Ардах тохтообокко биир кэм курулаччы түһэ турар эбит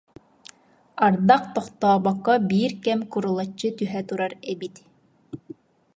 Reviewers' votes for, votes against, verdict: 2, 0, accepted